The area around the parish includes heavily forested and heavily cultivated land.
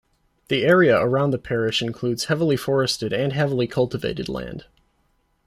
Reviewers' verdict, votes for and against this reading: accepted, 2, 0